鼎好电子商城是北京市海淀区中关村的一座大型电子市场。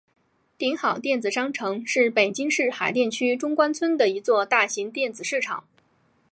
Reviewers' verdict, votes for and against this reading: accepted, 3, 0